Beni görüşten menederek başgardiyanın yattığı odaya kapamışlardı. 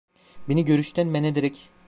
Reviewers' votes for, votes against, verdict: 0, 2, rejected